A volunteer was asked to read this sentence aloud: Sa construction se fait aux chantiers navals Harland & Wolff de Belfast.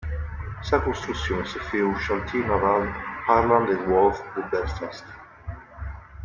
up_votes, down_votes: 0, 2